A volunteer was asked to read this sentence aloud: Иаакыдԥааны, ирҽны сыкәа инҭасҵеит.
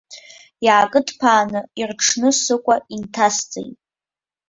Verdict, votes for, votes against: accepted, 2, 0